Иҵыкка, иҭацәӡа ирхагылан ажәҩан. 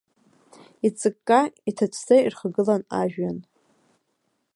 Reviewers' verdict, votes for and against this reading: accepted, 2, 0